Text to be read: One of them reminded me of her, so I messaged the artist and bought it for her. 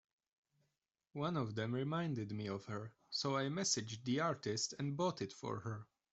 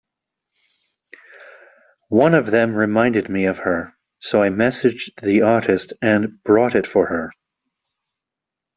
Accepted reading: first